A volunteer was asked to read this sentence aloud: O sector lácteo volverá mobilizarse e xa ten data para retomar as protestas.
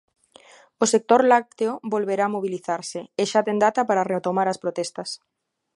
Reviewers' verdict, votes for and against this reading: rejected, 1, 2